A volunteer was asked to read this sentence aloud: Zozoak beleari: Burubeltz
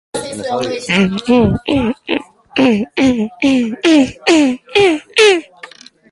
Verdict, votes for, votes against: rejected, 0, 3